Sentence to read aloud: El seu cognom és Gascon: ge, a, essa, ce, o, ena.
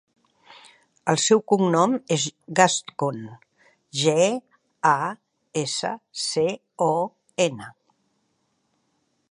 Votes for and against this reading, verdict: 2, 0, accepted